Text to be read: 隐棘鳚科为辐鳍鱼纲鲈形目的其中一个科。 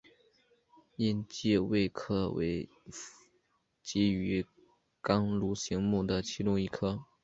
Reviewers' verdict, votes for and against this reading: accepted, 2, 0